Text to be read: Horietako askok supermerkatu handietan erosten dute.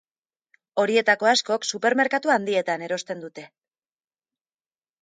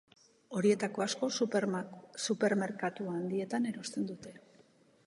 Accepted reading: first